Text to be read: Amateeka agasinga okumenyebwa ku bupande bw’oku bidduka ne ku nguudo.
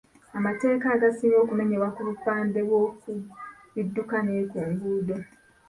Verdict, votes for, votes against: rejected, 0, 2